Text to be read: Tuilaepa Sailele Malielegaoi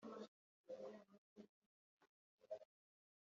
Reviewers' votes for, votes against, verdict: 0, 2, rejected